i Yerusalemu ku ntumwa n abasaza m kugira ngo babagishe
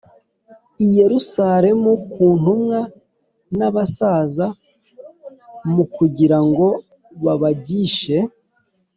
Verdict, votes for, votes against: accepted, 2, 0